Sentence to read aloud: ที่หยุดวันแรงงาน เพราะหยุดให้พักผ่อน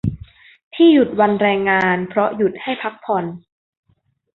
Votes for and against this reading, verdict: 2, 0, accepted